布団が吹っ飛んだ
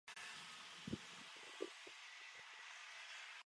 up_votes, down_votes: 1, 2